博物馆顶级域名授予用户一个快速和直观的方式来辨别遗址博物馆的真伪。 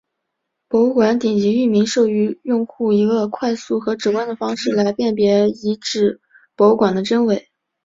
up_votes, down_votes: 5, 0